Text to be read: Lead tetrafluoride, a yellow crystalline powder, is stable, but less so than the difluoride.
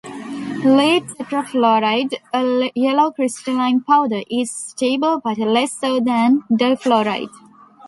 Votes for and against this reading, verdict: 0, 2, rejected